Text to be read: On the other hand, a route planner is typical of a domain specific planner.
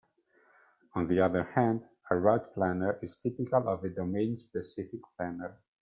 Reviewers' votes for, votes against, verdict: 2, 0, accepted